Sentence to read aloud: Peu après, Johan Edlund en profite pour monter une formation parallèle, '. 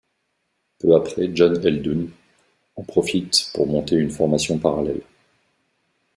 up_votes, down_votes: 1, 2